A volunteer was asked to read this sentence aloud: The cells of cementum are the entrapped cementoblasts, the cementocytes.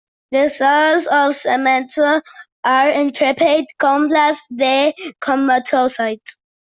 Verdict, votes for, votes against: rejected, 0, 2